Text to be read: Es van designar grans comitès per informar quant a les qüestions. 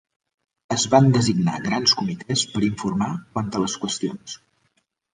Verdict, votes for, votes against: accepted, 4, 1